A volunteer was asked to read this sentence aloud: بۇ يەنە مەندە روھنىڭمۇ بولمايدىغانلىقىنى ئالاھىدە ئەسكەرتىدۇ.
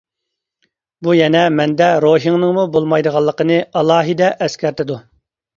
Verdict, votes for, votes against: rejected, 0, 2